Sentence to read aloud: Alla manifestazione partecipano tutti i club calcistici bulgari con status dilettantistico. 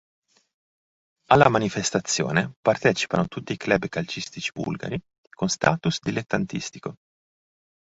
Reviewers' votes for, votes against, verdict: 2, 0, accepted